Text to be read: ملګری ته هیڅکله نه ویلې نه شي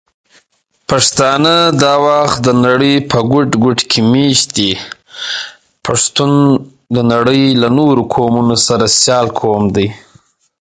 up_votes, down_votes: 0, 2